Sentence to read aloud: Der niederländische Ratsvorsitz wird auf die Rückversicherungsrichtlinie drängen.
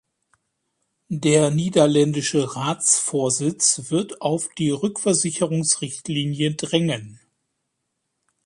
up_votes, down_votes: 2, 0